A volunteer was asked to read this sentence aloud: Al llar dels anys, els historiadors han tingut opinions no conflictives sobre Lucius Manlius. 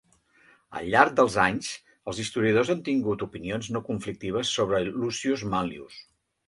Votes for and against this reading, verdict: 2, 0, accepted